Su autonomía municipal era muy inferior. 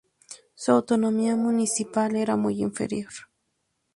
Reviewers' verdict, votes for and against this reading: rejected, 2, 2